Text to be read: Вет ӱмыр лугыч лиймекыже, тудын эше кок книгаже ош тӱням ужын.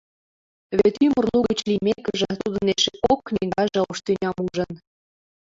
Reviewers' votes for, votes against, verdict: 0, 2, rejected